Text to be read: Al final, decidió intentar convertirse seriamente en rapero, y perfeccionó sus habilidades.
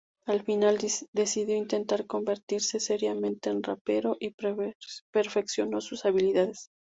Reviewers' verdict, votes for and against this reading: accepted, 2, 0